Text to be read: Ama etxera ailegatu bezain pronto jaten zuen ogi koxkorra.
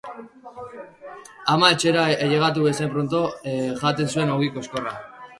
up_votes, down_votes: 0, 2